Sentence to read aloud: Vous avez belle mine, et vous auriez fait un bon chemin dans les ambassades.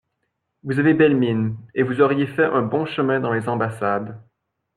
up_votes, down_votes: 2, 0